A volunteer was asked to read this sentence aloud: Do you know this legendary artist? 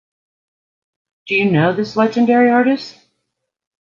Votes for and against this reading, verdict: 3, 0, accepted